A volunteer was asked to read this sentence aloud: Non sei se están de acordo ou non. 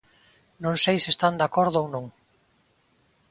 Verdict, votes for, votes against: accepted, 2, 0